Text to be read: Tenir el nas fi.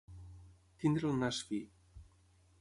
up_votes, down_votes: 0, 6